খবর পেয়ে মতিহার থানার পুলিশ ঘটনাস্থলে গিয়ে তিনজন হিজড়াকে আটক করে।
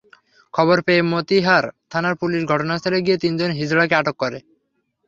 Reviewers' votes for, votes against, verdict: 3, 0, accepted